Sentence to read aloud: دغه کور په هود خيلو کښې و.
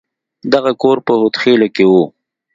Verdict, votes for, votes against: accepted, 2, 0